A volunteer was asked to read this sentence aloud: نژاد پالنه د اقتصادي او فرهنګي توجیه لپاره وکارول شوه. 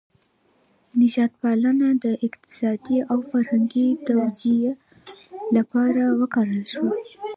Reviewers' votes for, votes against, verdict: 2, 0, accepted